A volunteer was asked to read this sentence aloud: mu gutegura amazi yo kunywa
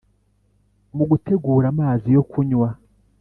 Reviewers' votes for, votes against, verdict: 2, 0, accepted